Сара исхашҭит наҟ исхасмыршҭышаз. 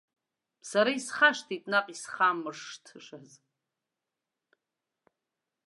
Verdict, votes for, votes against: rejected, 0, 2